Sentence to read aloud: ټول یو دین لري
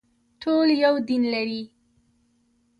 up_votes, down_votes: 2, 1